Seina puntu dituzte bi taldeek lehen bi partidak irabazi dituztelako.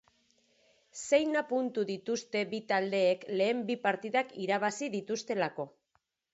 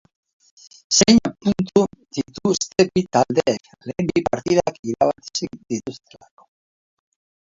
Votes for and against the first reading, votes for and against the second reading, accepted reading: 2, 0, 0, 3, first